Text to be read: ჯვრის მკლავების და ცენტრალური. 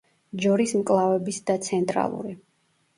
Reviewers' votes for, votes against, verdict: 1, 2, rejected